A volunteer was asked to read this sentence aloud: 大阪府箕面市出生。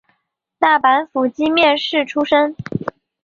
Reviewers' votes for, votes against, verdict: 4, 0, accepted